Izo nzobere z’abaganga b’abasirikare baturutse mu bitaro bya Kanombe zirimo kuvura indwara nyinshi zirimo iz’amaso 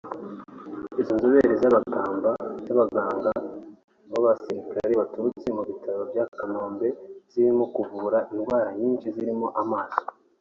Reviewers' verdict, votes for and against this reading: rejected, 1, 2